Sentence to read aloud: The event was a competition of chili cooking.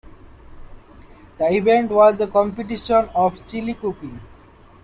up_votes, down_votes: 2, 0